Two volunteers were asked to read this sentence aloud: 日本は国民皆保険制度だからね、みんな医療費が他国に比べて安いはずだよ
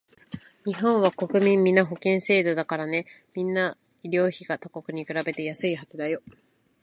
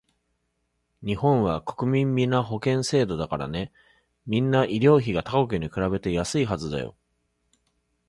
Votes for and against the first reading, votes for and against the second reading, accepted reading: 1, 2, 2, 0, second